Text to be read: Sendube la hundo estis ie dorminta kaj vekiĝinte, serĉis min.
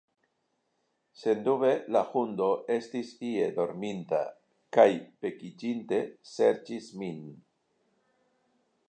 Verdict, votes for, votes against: accepted, 2, 0